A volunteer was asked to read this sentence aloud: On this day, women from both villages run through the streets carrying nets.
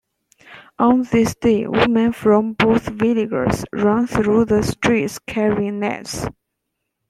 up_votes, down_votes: 0, 2